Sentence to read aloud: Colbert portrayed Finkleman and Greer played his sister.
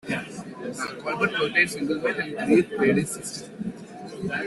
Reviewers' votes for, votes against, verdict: 0, 2, rejected